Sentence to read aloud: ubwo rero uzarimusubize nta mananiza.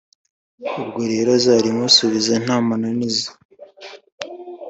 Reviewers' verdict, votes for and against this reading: accepted, 2, 0